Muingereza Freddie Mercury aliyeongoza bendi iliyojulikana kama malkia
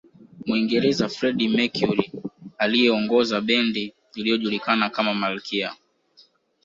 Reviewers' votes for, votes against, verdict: 3, 0, accepted